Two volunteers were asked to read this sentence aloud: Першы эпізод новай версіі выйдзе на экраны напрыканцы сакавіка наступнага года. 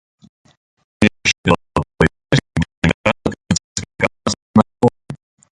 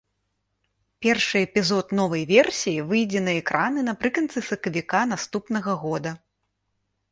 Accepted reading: second